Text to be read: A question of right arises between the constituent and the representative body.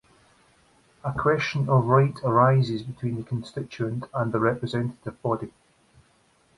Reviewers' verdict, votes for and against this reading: accepted, 2, 0